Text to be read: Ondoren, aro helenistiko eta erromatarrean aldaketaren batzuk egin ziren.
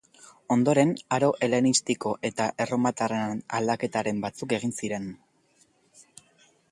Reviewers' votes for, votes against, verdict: 2, 0, accepted